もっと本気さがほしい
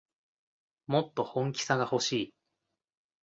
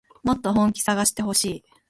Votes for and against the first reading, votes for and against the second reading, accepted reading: 2, 0, 0, 2, first